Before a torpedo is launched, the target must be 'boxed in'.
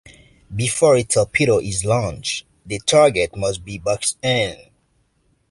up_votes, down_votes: 1, 2